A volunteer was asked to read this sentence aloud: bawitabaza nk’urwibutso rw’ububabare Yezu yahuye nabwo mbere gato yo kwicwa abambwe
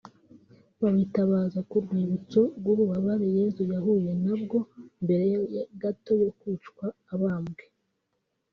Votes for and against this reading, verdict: 0, 2, rejected